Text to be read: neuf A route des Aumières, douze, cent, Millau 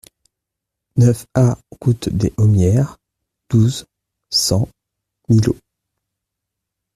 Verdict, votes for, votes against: rejected, 1, 2